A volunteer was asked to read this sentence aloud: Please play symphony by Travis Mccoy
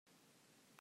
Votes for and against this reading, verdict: 0, 2, rejected